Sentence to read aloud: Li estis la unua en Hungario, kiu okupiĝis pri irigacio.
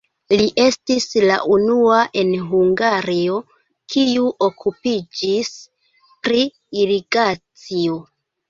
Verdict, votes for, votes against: accepted, 2, 1